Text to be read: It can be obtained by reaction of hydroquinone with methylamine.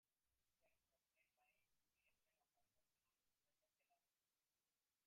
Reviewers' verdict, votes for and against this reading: rejected, 0, 2